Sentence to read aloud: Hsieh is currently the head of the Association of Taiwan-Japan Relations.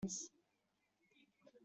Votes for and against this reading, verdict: 0, 2, rejected